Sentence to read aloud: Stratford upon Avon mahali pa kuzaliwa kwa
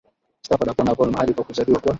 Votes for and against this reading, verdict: 2, 6, rejected